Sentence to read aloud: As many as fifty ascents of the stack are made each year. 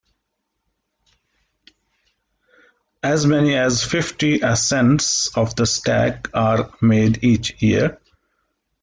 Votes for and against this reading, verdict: 3, 0, accepted